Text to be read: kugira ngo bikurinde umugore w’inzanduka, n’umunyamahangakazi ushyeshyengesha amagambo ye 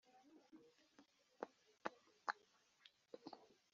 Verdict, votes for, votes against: rejected, 1, 2